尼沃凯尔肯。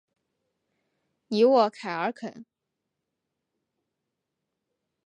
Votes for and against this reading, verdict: 3, 0, accepted